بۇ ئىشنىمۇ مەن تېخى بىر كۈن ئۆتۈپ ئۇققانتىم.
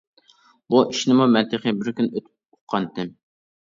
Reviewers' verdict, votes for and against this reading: rejected, 0, 2